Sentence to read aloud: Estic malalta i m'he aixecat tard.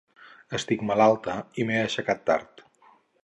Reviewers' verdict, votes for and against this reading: accepted, 4, 0